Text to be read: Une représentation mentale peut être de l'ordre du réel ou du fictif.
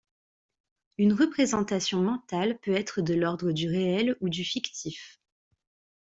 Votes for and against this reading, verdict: 2, 0, accepted